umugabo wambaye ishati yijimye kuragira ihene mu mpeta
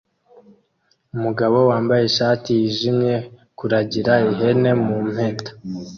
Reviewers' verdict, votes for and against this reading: accepted, 2, 0